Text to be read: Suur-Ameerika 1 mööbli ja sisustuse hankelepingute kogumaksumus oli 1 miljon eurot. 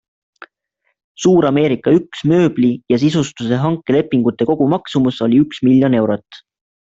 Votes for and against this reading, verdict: 0, 2, rejected